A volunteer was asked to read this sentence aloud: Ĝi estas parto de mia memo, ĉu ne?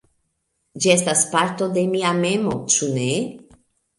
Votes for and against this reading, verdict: 2, 0, accepted